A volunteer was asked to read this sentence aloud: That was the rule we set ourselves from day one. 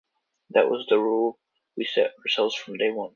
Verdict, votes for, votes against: accepted, 2, 1